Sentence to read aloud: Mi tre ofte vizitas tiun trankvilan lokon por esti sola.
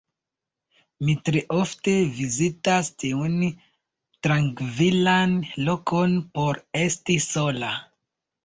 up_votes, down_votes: 2, 0